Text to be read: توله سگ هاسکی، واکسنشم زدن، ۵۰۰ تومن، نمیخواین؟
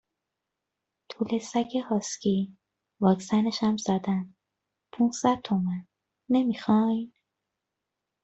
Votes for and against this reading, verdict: 0, 2, rejected